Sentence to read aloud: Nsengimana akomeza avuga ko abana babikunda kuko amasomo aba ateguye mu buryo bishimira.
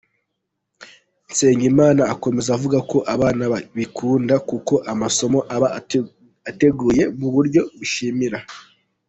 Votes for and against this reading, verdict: 0, 2, rejected